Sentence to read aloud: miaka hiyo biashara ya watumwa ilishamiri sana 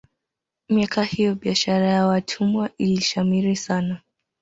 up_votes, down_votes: 2, 0